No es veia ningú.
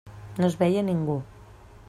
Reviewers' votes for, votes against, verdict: 3, 0, accepted